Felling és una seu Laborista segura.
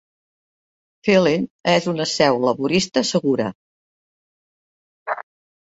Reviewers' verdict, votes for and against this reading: accepted, 2, 0